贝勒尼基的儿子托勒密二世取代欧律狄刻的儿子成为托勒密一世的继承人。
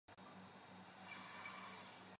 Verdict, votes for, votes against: rejected, 1, 2